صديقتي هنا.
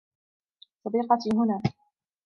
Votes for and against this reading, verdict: 0, 2, rejected